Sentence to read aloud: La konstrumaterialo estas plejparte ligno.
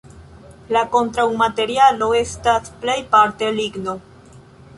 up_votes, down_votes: 0, 2